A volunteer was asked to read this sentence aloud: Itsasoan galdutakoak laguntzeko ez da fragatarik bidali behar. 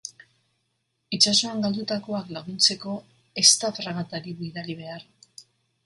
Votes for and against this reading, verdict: 3, 0, accepted